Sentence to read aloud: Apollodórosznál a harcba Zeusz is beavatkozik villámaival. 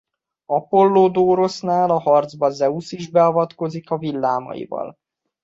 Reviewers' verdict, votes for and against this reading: accepted, 2, 0